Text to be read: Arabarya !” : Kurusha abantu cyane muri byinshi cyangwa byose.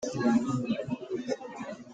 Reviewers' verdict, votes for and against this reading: rejected, 0, 3